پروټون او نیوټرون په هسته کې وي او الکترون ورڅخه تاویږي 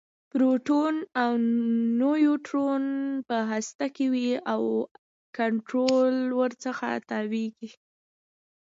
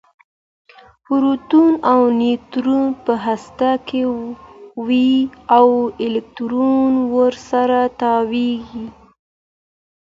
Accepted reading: second